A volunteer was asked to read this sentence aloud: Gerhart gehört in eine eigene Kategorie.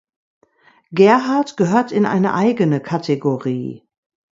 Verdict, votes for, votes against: accepted, 2, 0